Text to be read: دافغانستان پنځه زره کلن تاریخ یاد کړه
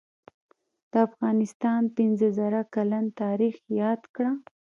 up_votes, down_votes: 2, 0